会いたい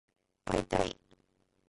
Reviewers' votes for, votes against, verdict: 1, 2, rejected